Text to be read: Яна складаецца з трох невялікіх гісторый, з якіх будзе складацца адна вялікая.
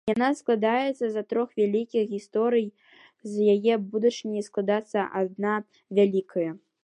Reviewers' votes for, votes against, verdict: 0, 2, rejected